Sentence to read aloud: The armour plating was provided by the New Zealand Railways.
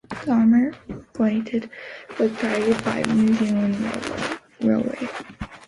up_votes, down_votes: 0, 2